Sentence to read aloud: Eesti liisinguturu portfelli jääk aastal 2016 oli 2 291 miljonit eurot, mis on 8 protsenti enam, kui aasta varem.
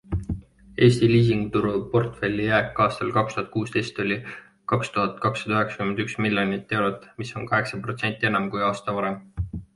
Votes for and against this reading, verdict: 0, 2, rejected